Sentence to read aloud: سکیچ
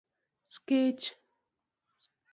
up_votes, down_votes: 2, 0